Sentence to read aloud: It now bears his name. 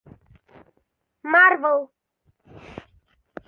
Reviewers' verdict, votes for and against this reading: rejected, 0, 2